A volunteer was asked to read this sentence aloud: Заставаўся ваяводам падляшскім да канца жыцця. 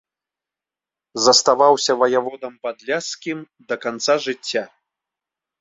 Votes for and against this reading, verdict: 2, 0, accepted